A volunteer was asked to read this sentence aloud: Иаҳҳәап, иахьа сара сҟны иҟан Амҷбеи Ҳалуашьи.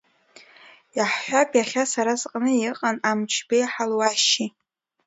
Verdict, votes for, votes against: accepted, 3, 0